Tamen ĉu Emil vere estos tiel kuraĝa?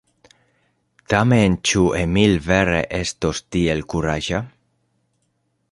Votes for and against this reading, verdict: 2, 0, accepted